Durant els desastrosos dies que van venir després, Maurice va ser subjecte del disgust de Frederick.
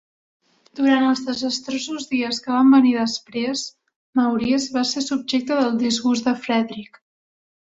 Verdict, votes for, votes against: accepted, 2, 0